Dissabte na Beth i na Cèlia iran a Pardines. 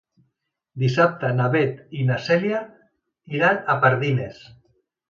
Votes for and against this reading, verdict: 2, 0, accepted